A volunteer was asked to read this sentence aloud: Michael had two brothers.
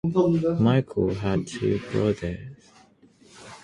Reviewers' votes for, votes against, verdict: 6, 3, accepted